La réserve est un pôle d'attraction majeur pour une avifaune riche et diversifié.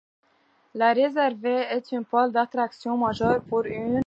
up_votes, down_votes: 0, 2